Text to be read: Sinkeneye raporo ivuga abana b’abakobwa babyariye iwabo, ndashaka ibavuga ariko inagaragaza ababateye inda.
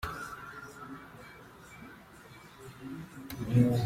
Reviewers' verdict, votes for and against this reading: rejected, 0, 3